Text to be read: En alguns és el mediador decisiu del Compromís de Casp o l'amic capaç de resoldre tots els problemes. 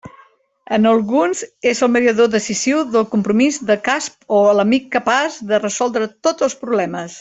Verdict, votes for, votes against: accepted, 2, 1